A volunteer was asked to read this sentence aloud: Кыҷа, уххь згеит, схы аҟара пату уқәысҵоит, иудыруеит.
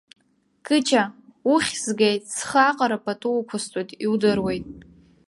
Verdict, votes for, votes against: accepted, 2, 0